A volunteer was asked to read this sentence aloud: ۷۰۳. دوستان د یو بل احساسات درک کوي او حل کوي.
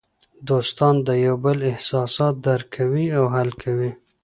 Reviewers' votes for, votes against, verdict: 0, 2, rejected